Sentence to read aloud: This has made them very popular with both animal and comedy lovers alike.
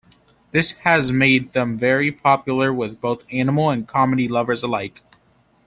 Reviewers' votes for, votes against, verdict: 2, 0, accepted